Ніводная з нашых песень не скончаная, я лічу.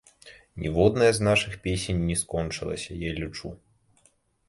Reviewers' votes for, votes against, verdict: 1, 2, rejected